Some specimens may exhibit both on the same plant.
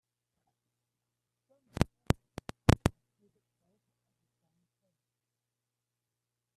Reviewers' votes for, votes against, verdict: 0, 2, rejected